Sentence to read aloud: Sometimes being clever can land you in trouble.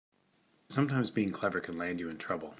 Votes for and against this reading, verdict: 3, 0, accepted